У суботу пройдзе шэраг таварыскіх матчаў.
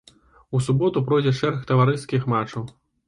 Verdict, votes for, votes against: accepted, 2, 0